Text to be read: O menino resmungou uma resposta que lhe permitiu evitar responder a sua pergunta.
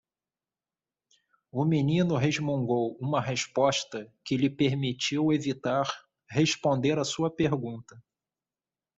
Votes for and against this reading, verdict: 2, 0, accepted